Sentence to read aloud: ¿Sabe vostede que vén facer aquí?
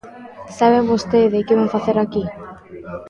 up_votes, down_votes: 2, 0